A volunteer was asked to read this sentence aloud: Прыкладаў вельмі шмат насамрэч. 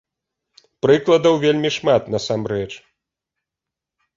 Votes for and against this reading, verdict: 2, 0, accepted